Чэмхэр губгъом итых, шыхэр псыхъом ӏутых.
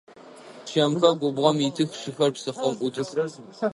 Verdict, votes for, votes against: rejected, 1, 2